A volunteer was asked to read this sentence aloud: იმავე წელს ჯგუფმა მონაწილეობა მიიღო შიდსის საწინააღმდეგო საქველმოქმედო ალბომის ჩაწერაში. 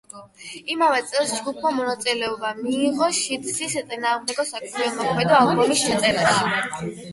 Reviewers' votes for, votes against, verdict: 4, 8, rejected